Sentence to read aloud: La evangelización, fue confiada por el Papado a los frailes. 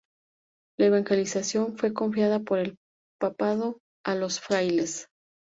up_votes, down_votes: 2, 0